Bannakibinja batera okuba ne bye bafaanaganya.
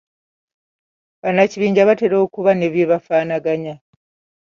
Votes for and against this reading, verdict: 2, 0, accepted